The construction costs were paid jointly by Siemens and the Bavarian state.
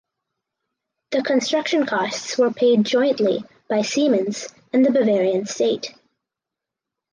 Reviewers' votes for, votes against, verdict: 4, 0, accepted